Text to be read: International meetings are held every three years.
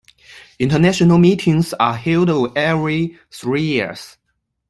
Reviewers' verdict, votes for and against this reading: accepted, 2, 0